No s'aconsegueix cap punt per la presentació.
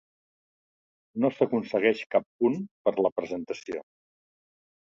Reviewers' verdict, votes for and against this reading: accepted, 2, 0